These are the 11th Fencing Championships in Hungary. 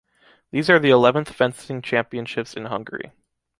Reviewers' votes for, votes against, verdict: 0, 2, rejected